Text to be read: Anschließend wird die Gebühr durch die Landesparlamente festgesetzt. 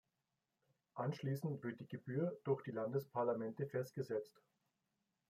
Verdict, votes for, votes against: rejected, 0, 2